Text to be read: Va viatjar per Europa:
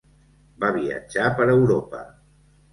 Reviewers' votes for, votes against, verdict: 2, 0, accepted